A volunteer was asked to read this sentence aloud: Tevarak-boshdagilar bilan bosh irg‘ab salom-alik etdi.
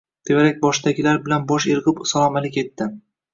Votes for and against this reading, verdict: 2, 0, accepted